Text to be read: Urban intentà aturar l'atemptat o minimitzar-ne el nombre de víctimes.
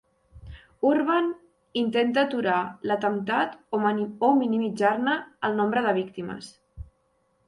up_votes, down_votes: 0, 2